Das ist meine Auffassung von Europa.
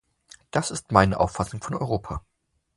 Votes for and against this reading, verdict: 2, 0, accepted